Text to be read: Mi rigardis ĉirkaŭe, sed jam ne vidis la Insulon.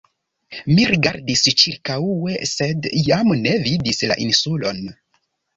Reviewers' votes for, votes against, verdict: 2, 0, accepted